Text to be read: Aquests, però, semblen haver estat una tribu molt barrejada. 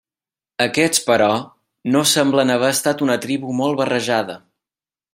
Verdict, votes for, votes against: rejected, 0, 2